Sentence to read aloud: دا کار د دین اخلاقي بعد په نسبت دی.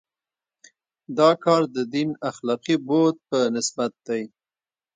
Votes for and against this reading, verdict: 1, 2, rejected